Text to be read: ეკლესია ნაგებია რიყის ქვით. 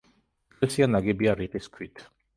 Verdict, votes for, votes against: rejected, 0, 2